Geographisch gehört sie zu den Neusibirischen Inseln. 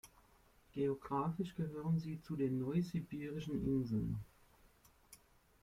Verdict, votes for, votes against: rejected, 1, 2